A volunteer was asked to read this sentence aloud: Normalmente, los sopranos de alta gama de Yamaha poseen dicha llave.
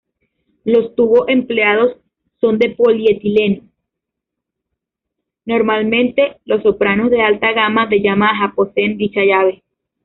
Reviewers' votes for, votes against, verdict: 0, 2, rejected